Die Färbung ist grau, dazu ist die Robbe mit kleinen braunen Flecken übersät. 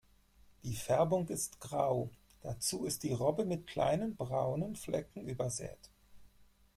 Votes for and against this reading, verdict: 4, 0, accepted